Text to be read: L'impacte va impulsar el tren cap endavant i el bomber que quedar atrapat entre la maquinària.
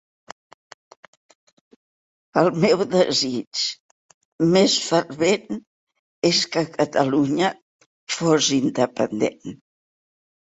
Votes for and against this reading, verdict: 0, 2, rejected